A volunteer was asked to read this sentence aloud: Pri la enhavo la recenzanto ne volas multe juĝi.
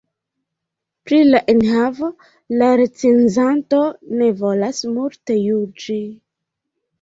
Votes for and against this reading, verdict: 2, 0, accepted